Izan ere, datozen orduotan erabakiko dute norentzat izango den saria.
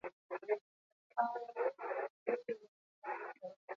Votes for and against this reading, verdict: 4, 2, accepted